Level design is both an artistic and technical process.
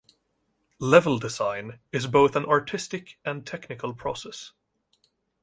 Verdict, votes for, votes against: accepted, 2, 0